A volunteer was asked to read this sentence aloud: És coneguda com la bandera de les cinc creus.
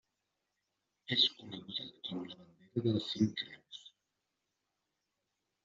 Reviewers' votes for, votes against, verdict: 0, 2, rejected